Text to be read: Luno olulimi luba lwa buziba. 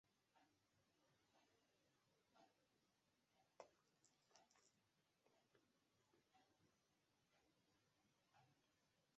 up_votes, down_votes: 0, 2